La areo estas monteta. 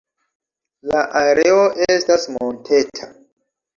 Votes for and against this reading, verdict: 0, 2, rejected